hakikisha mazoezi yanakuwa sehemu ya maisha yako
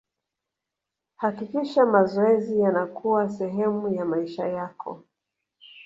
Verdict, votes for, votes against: accepted, 2, 0